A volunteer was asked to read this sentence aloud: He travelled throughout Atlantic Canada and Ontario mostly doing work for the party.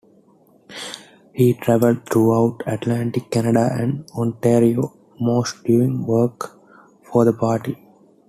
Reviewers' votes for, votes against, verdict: 2, 0, accepted